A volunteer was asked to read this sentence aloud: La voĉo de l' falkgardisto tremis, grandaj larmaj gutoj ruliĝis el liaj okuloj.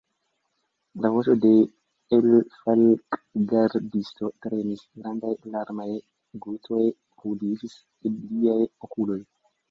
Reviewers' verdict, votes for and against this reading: rejected, 1, 2